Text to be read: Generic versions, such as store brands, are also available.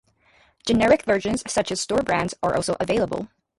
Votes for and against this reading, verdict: 2, 0, accepted